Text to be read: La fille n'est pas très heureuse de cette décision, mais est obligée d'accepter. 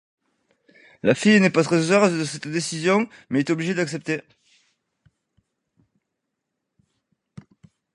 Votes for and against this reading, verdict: 2, 0, accepted